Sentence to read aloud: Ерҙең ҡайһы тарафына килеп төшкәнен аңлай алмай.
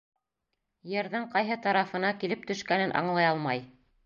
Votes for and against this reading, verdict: 2, 0, accepted